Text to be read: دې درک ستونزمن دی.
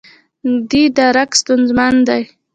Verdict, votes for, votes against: rejected, 1, 2